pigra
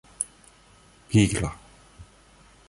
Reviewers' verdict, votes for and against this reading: accepted, 2, 0